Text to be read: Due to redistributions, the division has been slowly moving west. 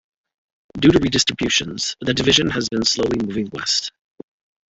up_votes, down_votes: 2, 1